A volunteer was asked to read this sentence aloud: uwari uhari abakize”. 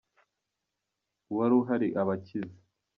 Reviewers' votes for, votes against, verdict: 0, 2, rejected